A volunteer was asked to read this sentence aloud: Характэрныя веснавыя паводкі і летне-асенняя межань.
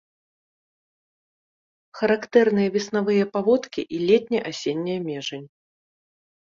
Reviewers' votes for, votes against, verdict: 2, 0, accepted